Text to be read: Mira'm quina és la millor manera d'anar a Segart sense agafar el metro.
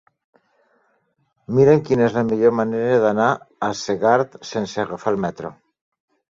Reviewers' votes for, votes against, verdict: 2, 0, accepted